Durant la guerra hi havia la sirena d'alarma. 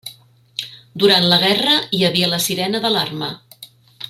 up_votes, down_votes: 3, 0